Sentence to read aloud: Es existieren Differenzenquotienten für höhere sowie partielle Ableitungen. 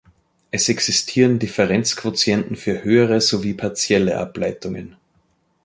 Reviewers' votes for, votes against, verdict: 2, 0, accepted